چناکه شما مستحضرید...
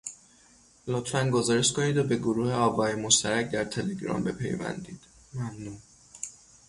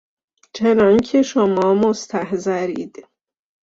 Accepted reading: second